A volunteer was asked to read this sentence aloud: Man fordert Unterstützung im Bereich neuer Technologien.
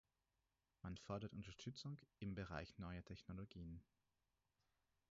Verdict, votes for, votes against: rejected, 2, 4